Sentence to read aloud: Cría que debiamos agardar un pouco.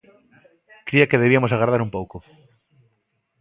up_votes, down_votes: 0, 2